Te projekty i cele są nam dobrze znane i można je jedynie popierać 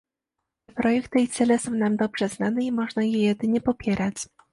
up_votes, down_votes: 1, 2